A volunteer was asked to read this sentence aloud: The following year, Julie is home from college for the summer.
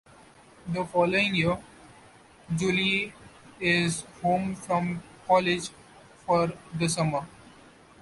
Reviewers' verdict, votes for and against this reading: accepted, 2, 1